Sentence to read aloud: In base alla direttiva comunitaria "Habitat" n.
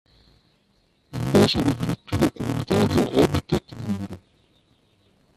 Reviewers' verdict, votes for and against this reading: rejected, 0, 2